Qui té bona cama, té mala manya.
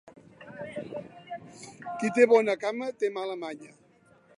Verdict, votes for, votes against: accepted, 2, 1